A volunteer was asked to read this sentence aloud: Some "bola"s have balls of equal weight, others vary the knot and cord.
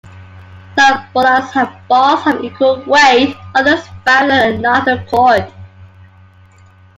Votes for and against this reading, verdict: 1, 2, rejected